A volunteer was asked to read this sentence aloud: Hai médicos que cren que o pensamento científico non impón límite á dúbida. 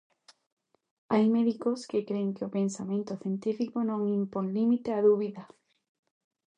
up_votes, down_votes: 2, 0